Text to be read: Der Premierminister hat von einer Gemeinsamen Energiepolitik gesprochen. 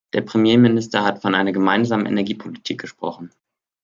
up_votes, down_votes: 2, 0